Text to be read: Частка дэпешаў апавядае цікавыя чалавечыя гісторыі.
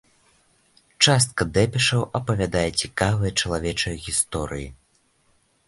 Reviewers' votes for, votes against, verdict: 2, 1, accepted